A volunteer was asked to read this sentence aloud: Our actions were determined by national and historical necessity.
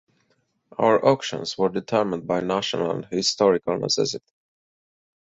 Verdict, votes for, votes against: accepted, 4, 2